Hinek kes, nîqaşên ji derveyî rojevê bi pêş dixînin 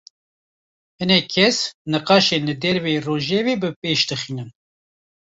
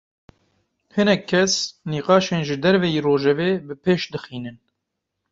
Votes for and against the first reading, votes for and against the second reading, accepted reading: 1, 2, 2, 0, second